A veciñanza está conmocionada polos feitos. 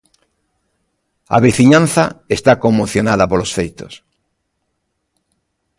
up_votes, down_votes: 2, 0